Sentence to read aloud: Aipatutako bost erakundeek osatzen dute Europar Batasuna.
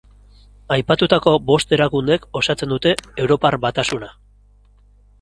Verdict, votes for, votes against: accepted, 4, 0